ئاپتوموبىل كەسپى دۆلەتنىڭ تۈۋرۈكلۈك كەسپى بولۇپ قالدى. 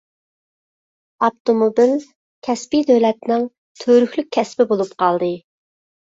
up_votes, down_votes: 2, 0